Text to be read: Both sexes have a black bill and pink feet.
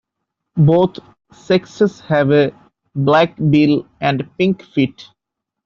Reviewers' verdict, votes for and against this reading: accepted, 2, 1